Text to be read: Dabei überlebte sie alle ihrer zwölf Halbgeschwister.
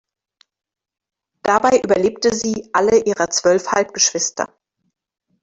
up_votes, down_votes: 2, 0